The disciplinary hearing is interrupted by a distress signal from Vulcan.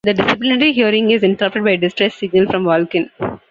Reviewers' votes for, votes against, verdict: 0, 2, rejected